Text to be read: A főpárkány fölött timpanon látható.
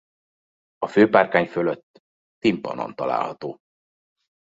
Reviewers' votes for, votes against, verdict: 0, 2, rejected